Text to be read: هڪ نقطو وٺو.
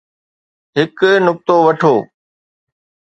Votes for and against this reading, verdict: 2, 0, accepted